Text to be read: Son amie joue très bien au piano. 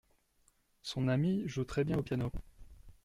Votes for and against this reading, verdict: 2, 0, accepted